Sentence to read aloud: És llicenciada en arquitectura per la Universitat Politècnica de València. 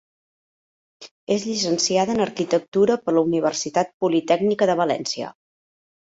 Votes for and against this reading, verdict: 3, 0, accepted